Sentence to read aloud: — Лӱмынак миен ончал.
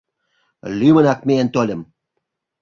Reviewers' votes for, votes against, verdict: 0, 2, rejected